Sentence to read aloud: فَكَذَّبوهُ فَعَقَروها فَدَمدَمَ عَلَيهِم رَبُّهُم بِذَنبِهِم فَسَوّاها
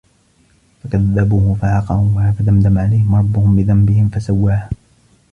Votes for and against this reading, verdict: 1, 2, rejected